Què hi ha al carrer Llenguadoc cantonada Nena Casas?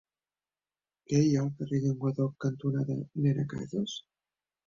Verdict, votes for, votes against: rejected, 1, 2